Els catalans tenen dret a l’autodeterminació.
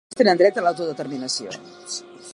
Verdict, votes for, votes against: rejected, 0, 2